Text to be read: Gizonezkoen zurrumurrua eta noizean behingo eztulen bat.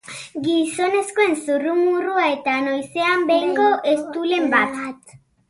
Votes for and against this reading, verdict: 2, 1, accepted